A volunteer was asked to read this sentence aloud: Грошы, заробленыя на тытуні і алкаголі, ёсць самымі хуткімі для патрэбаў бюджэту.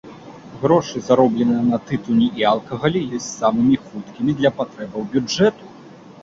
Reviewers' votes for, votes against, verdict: 2, 1, accepted